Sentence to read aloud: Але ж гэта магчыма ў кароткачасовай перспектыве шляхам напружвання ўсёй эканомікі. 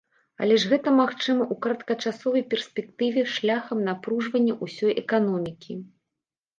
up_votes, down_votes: 2, 1